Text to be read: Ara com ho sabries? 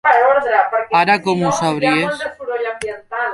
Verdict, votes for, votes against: rejected, 0, 2